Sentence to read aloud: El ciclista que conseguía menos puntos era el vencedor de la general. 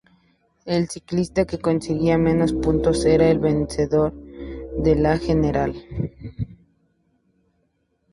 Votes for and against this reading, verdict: 2, 0, accepted